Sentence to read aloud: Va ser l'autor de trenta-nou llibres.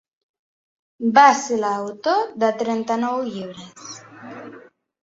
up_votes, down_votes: 3, 0